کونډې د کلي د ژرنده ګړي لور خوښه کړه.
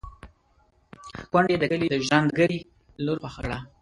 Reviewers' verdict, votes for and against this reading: rejected, 1, 2